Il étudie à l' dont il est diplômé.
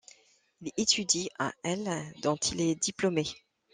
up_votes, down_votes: 1, 2